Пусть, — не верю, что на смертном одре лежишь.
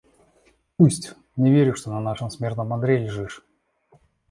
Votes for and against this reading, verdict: 1, 2, rejected